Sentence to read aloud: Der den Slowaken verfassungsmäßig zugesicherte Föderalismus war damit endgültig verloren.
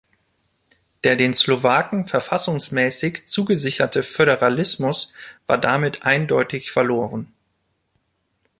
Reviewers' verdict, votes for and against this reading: rejected, 1, 2